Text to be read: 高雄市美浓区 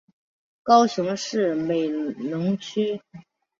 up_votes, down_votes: 2, 0